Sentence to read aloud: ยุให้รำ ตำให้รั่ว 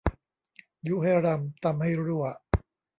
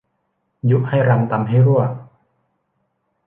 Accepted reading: second